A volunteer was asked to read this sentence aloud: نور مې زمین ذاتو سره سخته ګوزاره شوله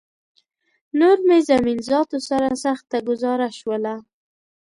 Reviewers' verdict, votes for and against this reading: accepted, 2, 0